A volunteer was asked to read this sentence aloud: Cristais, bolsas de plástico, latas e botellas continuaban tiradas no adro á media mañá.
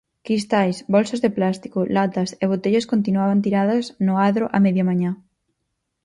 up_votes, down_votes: 4, 0